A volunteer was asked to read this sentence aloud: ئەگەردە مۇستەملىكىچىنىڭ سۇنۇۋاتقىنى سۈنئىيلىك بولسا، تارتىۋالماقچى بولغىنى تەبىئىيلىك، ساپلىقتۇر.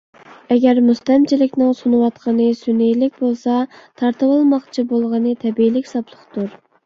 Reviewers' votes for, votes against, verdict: 0, 2, rejected